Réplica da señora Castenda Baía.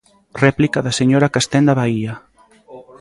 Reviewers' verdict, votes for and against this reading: accepted, 2, 0